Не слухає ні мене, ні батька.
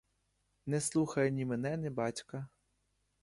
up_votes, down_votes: 0, 2